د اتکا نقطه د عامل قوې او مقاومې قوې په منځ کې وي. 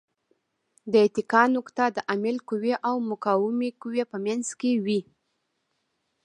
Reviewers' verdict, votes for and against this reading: accepted, 2, 1